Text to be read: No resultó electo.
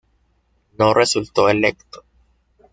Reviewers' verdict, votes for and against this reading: accepted, 2, 0